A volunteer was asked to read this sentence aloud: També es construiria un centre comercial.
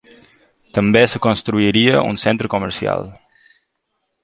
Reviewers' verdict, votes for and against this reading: rejected, 0, 2